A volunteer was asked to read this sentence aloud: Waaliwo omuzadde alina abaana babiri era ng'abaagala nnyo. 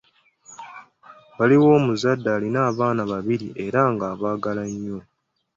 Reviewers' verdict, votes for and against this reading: accepted, 2, 1